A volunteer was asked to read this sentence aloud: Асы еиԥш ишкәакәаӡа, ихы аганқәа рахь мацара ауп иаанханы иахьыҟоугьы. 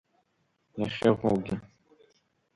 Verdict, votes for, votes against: rejected, 1, 2